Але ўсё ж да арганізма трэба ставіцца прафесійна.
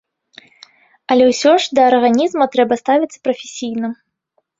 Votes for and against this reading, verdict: 2, 0, accepted